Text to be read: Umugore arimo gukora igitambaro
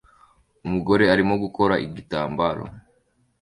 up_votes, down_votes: 3, 0